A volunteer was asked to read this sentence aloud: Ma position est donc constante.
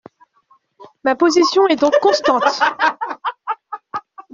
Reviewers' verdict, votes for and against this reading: rejected, 0, 2